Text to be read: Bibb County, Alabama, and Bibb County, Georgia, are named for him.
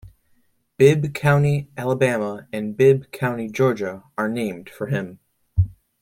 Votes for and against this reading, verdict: 2, 0, accepted